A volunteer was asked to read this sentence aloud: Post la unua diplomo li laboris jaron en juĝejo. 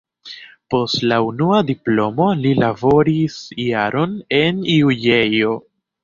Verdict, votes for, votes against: accepted, 2, 1